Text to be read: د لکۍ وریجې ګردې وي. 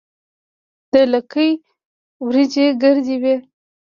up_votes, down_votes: 1, 2